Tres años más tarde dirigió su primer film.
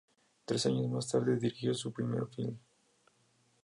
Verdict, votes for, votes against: accepted, 4, 0